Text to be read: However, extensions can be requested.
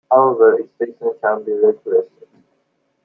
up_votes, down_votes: 0, 2